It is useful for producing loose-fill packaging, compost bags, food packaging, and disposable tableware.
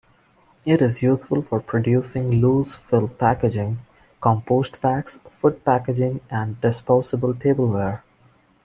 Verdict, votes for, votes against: accepted, 2, 0